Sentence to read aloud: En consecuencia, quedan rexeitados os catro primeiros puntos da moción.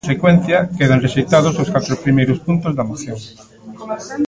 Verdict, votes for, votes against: rejected, 0, 2